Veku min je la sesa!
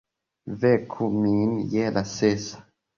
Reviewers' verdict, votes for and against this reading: accepted, 2, 0